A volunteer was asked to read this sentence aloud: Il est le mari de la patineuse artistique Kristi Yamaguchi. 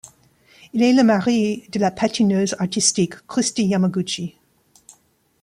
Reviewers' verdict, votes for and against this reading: accepted, 2, 1